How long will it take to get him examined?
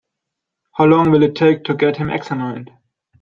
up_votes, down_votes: 2, 1